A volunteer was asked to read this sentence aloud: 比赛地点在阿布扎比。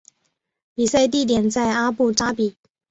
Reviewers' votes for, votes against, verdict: 2, 0, accepted